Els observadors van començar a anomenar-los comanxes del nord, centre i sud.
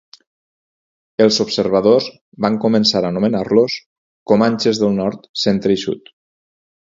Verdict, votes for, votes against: accepted, 4, 0